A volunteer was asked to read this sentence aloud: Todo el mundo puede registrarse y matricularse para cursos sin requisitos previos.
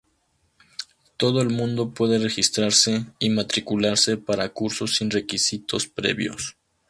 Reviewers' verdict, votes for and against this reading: accepted, 2, 0